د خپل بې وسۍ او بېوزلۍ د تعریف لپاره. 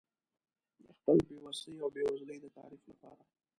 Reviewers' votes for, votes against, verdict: 1, 2, rejected